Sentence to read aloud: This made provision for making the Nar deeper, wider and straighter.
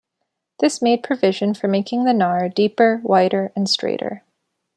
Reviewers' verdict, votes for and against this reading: accepted, 2, 0